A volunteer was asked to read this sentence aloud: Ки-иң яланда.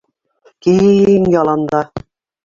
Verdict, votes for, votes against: rejected, 1, 2